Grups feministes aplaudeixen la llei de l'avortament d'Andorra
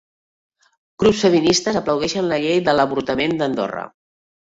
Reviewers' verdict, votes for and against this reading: rejected, 0, 2